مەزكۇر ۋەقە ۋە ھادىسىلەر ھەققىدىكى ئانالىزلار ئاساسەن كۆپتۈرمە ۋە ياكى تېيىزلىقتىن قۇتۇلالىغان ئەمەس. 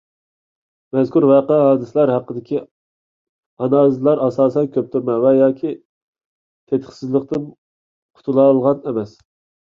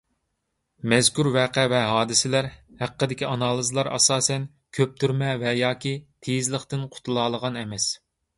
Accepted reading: second